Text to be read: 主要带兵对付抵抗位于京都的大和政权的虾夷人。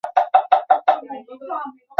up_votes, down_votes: 1, 5